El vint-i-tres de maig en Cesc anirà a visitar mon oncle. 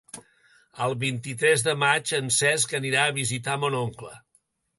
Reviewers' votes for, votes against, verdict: 3, 0, accepted